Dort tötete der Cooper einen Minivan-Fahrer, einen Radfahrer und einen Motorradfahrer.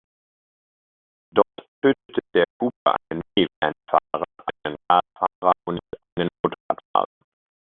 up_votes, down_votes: 0, 2